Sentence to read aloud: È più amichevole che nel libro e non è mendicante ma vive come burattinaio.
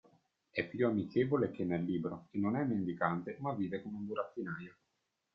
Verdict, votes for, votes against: accepted, 2, 1